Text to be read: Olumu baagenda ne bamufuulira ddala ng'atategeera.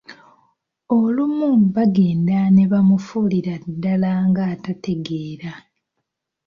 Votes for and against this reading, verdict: 0, 2, rejected